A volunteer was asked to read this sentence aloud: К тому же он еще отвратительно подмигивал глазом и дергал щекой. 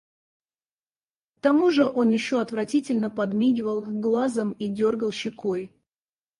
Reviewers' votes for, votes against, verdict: 2, 2, rejected